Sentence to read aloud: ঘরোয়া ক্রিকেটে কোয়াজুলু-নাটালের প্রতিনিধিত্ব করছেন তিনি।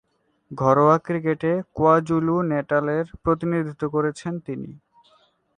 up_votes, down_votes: 1, 3